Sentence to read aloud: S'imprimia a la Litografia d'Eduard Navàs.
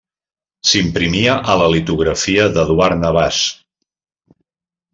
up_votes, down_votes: 2, 0